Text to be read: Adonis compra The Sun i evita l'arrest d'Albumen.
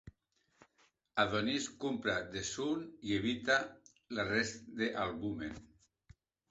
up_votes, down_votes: 0, 2